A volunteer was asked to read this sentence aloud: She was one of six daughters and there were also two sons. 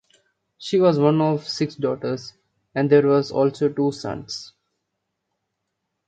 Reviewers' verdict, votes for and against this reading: rejected, 0, 2